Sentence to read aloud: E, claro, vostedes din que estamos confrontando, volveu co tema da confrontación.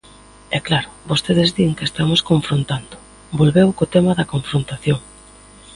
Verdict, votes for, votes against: accepted, 2, 0